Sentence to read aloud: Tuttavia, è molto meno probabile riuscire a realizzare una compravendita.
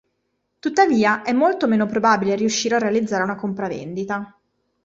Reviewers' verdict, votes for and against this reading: accepted, 2, 0